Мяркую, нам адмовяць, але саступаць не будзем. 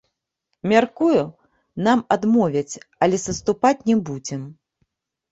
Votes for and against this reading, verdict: 2, 0, accepted